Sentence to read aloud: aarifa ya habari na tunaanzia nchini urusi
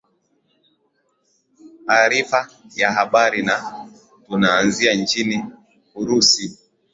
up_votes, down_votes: 2, 1